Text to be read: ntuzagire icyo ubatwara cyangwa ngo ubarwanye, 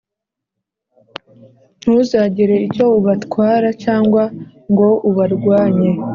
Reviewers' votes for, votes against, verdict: 2, 0, accepted